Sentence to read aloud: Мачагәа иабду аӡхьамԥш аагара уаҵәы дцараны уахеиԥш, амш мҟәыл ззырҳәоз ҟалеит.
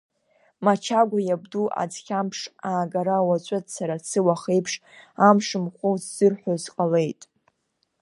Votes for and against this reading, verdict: 1, 2, rejected